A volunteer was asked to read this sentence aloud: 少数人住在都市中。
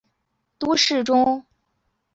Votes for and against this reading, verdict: 0, 2, rejected